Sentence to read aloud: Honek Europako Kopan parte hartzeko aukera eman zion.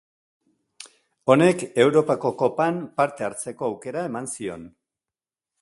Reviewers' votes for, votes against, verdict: 3, 0, accepted